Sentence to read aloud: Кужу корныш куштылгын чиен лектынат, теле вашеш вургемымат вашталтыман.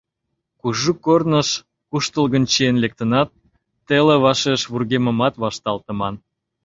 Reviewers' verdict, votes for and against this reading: accepted, 2, 0